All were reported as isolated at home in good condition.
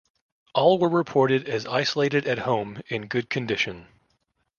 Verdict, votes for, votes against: accepted, 2, 0